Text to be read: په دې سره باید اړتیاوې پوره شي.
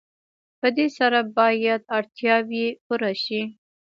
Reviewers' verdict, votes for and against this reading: rejected, 1, 2